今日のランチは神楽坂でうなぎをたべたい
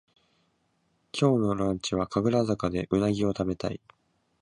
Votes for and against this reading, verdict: 2, 0, accepted